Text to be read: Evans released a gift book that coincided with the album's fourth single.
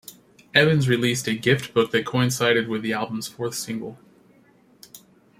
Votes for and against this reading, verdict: 3, 0, accepted